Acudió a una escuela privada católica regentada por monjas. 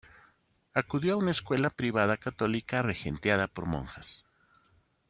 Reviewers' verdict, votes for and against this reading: rejected, 1, 2